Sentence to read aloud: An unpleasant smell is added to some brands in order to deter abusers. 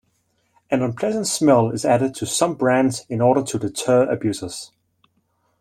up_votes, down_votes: 2, 0